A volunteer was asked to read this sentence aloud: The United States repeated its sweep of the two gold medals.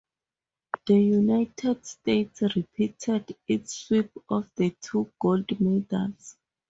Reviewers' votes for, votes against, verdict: 2, 0, accepted